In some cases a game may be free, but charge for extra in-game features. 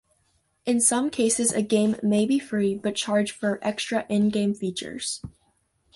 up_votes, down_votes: 2, 0